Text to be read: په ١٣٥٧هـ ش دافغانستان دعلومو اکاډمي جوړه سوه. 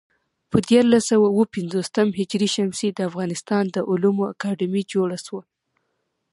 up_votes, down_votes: 0, 2